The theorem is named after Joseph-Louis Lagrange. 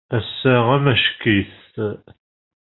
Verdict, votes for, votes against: rejected, 0, 2